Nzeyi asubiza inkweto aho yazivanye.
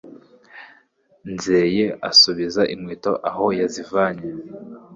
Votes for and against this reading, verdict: 2, 0, accepted